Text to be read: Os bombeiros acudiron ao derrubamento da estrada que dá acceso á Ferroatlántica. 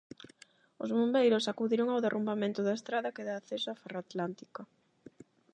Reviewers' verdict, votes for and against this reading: rejected, 4, 4